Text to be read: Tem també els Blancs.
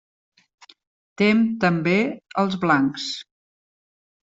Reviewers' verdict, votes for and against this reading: accepted, 2, 0